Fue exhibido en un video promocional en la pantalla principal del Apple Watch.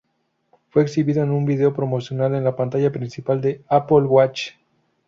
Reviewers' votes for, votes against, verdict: 2, 0, accepted